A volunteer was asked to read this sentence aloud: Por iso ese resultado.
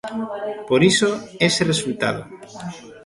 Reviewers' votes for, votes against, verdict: 0, 2, rejected